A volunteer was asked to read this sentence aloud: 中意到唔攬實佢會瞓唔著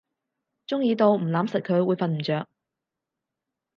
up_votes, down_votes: 4, 0